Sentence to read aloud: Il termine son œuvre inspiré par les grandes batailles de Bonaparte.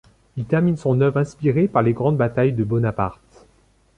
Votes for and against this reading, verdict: 2, 0, accepted